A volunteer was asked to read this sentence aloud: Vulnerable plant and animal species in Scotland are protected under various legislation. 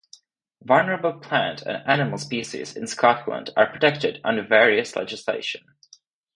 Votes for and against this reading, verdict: 4, 0, accepted